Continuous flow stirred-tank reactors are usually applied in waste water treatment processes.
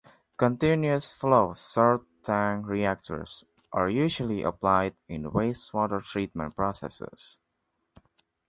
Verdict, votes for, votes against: rejected, 0, 2